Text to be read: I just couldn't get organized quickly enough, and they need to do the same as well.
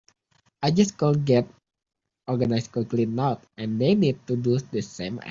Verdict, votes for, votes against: rejected, 0, 2